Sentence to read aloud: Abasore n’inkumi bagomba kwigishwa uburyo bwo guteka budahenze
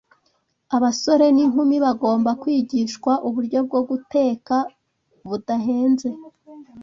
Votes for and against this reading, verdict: 2, 0, accepted